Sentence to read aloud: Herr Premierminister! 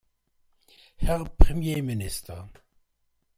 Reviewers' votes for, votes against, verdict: 2, 0, accepted